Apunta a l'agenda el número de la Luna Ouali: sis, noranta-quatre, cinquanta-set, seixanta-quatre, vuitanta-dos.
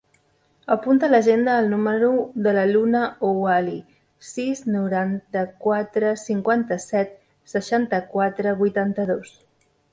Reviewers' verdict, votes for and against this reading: accepted, 3, 0